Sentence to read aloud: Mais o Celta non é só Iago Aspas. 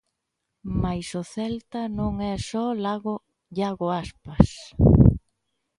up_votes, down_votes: 0, 2